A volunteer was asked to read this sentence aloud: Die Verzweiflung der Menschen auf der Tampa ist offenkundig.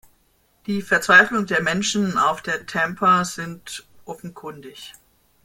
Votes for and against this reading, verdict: 0, 2, rejected